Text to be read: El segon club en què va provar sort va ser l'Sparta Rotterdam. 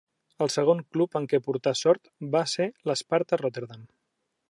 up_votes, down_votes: 1, 2